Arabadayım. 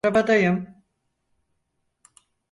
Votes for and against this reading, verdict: 0, 4, rejected